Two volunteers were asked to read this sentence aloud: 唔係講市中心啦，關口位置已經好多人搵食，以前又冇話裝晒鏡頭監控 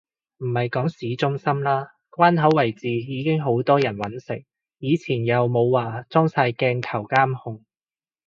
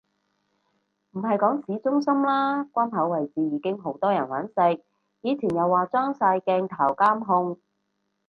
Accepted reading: first